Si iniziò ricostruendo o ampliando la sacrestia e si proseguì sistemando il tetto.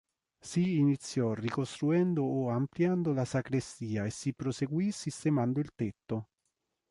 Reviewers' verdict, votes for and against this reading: accepted, 3, 0